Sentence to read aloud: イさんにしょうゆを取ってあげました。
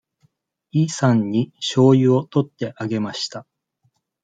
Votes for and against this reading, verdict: 2, 0, accepted